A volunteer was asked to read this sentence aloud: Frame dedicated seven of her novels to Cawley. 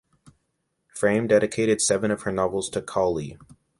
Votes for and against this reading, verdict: 2, 0, accepted